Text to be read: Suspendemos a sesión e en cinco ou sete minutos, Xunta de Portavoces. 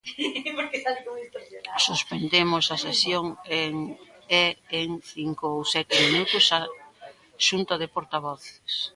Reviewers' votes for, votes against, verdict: 0, 2, rejected